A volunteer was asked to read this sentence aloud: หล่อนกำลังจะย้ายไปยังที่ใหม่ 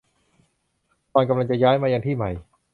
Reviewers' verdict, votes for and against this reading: rejected, 1, 2